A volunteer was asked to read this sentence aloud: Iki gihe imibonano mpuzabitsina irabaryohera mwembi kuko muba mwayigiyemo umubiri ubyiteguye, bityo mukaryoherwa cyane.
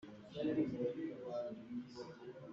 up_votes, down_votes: 0, 2